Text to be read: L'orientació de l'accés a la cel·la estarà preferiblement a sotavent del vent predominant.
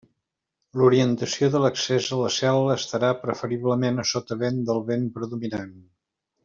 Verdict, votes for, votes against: accepted, 2, 0